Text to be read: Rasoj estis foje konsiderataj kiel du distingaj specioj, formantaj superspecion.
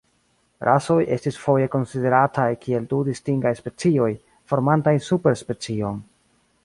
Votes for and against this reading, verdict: 1, 2, rejected